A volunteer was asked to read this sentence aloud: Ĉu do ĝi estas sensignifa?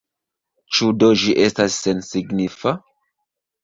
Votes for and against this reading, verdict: 0, 2, rejected